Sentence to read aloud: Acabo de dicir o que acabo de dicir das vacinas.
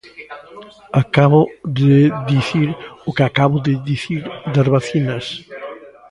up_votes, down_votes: 0, 2